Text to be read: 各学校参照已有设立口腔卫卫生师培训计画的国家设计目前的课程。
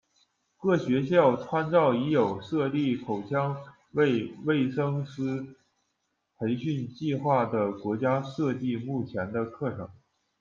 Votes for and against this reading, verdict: 0, 2, rejected